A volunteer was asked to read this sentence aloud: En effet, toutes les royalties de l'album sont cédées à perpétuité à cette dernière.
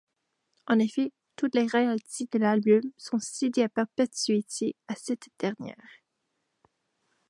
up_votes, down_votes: 1, 2